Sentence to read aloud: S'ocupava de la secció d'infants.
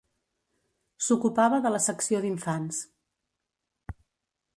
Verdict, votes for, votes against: accepted, 2, 0